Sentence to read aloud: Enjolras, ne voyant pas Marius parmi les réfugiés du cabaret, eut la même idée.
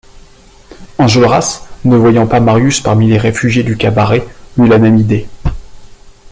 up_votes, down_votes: 2, 0